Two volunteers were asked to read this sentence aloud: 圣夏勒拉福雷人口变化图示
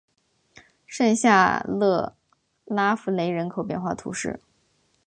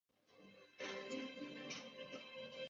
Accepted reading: first